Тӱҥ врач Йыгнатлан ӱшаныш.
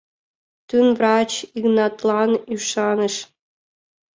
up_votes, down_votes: 0, 2